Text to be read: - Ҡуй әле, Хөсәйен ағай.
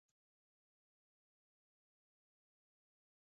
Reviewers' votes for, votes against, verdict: 0, 2, rejected